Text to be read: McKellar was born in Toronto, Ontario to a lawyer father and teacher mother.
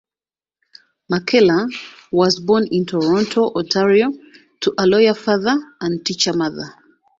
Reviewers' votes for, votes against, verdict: 2, 0, accepted